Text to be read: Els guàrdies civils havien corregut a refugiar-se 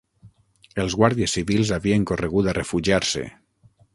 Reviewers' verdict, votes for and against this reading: accepted, 9, 0